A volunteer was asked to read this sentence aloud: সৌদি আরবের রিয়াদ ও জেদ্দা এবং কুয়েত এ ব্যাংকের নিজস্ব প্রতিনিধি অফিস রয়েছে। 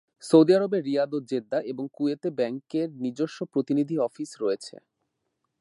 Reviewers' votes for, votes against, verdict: 2, 0, accepted